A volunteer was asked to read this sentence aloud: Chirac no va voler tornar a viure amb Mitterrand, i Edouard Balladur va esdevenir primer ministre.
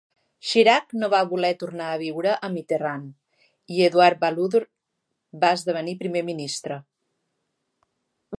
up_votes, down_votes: 1, 2